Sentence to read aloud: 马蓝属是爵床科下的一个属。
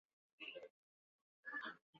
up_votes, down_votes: 1, 5